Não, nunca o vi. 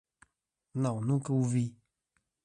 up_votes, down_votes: 2, 0